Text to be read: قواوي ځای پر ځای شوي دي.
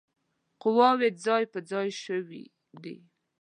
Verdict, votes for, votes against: accepted, 5, 0